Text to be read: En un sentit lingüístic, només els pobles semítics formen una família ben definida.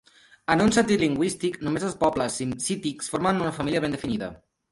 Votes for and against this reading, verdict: 0, 2, rejected